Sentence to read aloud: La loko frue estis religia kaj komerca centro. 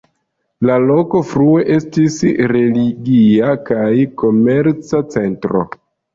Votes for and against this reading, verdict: 0, 2, rejected